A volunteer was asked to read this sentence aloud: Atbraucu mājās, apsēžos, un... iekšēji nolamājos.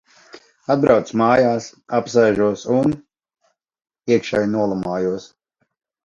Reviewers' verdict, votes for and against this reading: accepted, 2, 0